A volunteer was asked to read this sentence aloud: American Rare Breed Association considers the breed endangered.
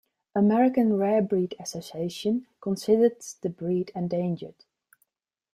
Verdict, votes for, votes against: accepted, 2, 0